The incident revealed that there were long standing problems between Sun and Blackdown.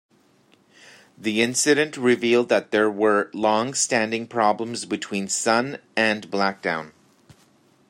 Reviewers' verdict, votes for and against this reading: accepted, 2, 0